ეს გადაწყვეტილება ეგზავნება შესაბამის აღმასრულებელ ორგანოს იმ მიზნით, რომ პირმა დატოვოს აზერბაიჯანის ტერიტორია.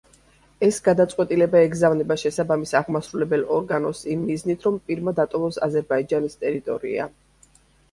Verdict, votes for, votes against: accepted, 2, 0